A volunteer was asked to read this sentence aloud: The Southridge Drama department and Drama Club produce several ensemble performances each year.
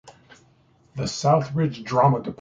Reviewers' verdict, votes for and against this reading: rejected, 1, 2